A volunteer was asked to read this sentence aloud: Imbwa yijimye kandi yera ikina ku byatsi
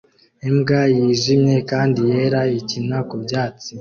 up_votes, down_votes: 2, 0